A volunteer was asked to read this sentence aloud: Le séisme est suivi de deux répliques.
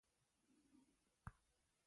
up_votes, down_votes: 1, 2